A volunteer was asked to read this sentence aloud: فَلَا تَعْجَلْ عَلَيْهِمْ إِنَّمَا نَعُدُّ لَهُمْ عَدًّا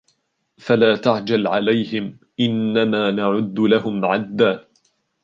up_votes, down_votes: 2, 1